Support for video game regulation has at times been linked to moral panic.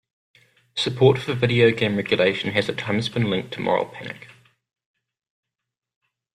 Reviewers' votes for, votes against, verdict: 2, 0, accepted